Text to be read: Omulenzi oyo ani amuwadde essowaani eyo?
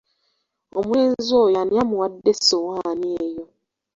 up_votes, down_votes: 2, 0